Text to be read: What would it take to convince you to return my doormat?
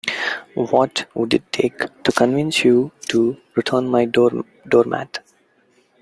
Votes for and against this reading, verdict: 1, 2, rejected